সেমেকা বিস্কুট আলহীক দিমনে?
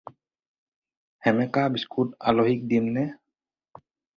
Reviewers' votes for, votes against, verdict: 4, 0, accepted